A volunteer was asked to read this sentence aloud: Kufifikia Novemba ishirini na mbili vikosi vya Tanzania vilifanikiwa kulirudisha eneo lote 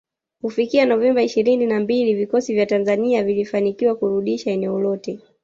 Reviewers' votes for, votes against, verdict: 1, 2, rejected